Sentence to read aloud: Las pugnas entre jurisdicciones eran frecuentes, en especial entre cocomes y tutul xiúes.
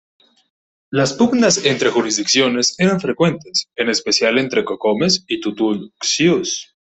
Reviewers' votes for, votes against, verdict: 1, 2, rejected